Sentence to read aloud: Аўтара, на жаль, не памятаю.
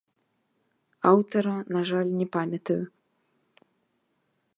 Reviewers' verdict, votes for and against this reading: accepted, 2, 0